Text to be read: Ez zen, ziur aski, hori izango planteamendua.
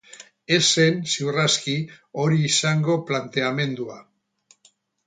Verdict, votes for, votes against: accepted, 6, 0